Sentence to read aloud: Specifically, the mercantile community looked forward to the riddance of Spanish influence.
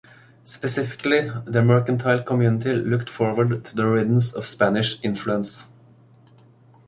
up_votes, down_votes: 0, 2